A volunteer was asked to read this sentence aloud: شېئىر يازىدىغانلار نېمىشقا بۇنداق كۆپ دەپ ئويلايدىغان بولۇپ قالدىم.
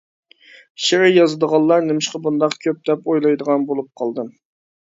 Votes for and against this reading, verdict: 2, 0, accepted